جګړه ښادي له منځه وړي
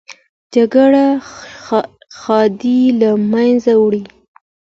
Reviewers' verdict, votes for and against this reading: accepted, 2, 1